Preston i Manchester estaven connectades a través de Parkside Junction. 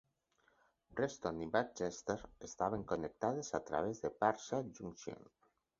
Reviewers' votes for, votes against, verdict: 4, 2, accepted